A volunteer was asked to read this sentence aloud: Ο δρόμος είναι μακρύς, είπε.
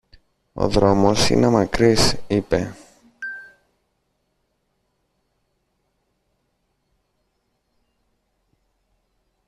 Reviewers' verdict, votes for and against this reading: rejected, 1, 2